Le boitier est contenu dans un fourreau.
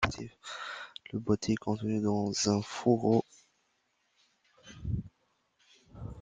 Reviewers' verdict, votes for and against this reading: accepted, 2, 0